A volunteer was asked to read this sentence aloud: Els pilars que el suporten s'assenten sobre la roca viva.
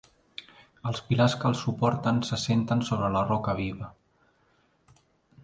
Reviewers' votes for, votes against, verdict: 2, 0, accepted